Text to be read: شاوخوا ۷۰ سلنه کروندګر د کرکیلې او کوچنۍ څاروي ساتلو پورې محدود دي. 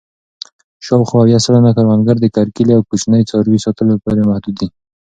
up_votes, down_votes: 0, 2